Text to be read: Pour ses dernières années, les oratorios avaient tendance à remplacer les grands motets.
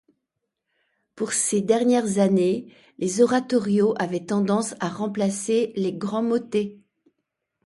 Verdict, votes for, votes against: accepted, 2, 0